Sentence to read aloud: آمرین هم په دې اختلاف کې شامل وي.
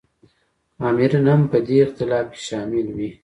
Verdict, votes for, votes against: accepted, 2, 0